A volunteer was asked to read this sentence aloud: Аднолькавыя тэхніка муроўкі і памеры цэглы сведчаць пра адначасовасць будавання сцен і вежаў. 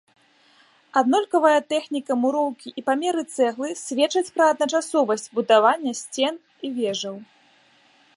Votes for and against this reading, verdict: 1, 2, rejected